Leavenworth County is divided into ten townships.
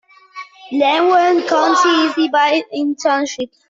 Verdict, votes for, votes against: rejected, 0, 2